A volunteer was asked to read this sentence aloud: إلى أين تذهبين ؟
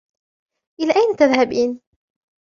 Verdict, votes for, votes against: accepted, 2, 0